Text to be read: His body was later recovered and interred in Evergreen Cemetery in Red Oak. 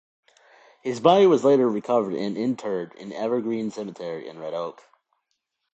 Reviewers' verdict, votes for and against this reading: accepted, 2, 0